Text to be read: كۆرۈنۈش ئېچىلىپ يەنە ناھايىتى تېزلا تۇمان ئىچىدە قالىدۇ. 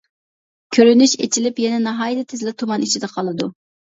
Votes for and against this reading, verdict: 2, 0, accepted